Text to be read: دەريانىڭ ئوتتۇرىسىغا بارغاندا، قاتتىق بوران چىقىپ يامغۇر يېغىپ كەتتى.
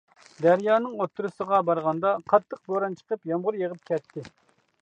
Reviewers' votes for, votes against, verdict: 2, 0, accepted